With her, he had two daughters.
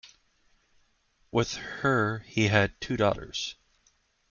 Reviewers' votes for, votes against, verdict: 2, 0, accepted